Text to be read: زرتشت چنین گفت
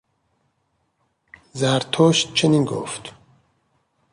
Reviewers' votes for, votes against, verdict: 2, 0, accepted